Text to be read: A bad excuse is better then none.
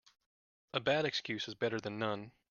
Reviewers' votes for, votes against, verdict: 0, 2, rejected